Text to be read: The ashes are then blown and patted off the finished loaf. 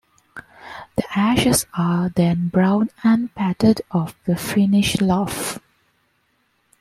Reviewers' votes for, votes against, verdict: 2, 1, accepted